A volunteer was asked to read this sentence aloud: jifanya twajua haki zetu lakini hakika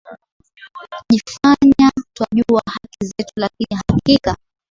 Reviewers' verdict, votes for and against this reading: accepted, 3, 0